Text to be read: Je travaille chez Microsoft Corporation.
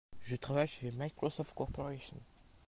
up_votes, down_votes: 2, 0